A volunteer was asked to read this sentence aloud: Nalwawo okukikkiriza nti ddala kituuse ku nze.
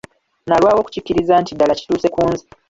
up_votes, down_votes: 0, 2